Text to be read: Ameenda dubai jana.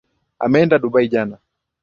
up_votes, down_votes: 3, 0